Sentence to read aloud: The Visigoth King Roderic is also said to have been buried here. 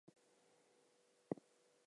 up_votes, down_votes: 0, 4